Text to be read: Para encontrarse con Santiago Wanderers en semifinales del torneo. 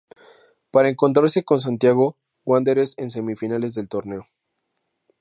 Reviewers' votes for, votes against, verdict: 2, 0, accepted